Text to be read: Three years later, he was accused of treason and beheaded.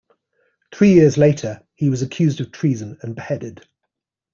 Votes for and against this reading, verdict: 2, 0, accepted